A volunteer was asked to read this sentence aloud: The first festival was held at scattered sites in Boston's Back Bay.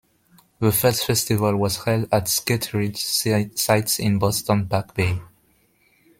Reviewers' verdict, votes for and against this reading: rejected, 1, 2